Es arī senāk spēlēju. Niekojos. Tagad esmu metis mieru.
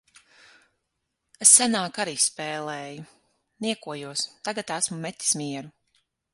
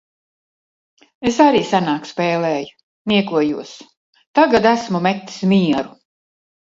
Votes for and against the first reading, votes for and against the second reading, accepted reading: 0, 6, 2, 0, second